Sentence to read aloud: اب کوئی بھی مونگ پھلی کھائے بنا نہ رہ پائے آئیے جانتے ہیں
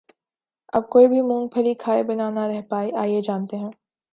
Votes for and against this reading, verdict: 2, 0, accepted